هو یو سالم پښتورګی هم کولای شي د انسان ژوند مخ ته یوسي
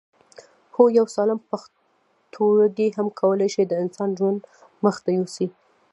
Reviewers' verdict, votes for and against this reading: rejected, 0, 2